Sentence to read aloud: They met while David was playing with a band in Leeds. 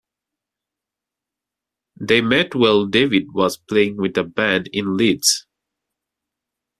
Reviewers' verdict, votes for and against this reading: accepted, 2, 0